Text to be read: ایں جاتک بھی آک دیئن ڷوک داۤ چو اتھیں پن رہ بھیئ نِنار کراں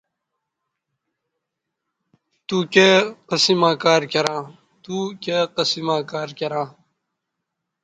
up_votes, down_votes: 0, 2